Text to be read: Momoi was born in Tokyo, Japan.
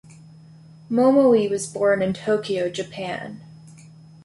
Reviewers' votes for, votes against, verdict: 2, 0, accepted